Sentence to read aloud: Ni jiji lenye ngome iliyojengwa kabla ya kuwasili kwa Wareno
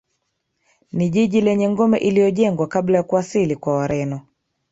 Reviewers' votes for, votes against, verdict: 1, 2, rejected